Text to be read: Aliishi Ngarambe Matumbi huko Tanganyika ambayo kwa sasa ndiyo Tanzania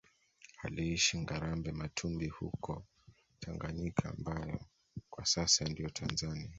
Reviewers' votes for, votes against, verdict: 2, 0, accepted